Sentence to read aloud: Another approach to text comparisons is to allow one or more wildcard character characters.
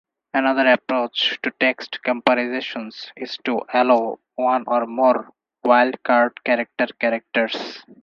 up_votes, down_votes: 6, 2